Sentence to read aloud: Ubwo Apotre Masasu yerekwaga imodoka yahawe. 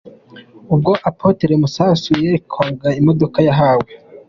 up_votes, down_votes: 2, 0